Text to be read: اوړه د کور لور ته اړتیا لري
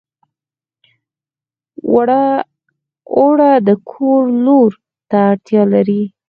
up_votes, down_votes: 0, 4